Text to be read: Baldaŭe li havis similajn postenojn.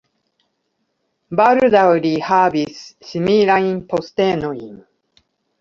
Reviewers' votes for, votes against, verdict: 1, 2, rejected